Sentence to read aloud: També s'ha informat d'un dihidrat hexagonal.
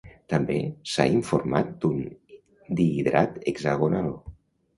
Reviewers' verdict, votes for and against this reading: accepted, 2, 0